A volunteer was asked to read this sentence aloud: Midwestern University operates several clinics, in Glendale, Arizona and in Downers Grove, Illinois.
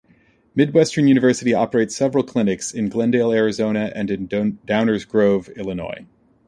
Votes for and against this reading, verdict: 0, 2, rejected